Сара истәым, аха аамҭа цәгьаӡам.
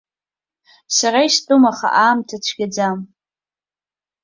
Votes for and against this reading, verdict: 2, 1, accepted